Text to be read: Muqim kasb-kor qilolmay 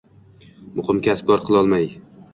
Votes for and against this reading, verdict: 2, 0, accepted